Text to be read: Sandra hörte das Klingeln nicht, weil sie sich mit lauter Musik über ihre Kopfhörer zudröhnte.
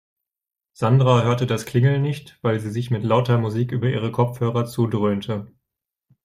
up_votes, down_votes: 2, 0